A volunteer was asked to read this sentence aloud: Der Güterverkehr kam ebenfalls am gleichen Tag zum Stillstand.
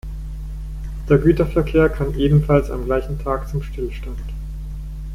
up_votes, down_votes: 2, 1